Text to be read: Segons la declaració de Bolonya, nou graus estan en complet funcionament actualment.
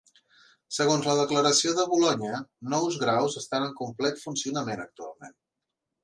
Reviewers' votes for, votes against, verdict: 0, 2, rejected